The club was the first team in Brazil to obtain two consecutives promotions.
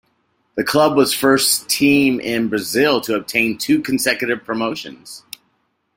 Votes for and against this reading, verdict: 0, 2, rejected